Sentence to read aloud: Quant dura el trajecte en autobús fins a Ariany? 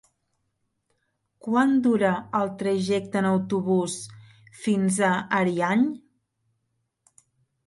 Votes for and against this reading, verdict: 3, 1, accepted